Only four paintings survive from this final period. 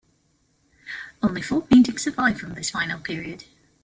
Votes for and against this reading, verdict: 2, 0, accepted